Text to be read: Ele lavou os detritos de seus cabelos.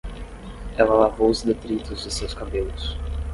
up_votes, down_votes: 5, 5